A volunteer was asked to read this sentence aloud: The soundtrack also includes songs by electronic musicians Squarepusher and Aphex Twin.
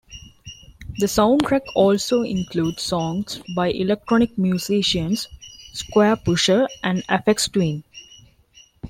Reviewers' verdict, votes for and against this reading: rejected, 1, 2